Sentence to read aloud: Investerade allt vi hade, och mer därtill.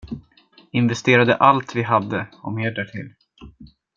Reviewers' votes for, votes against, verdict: 2, 0, accepted